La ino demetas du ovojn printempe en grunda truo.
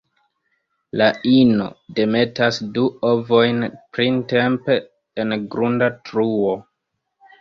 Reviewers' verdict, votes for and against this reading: rejected, 1, 2